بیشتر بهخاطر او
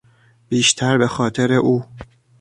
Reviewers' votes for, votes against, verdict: 1, 2, rejected